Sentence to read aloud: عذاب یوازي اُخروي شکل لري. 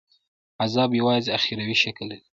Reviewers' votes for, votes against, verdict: 2, 0, accepted